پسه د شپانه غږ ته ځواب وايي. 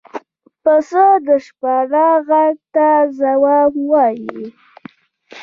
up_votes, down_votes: 2, 0